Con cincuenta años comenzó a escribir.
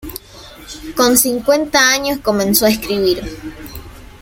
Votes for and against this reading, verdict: 1, 2, rejected